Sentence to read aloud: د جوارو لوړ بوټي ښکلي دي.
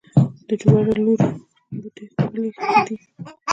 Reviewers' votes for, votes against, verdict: 0, 2, rejected